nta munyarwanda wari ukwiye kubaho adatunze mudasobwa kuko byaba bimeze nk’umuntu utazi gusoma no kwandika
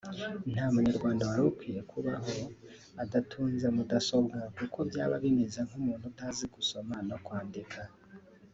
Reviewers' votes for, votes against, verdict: 0, 2, rejected